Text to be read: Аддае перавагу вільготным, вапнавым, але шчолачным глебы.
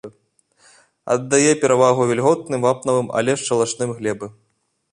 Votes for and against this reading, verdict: 0, 2, rejected